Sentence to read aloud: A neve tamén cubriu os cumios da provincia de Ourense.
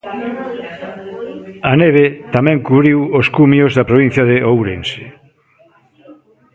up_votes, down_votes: 1, 2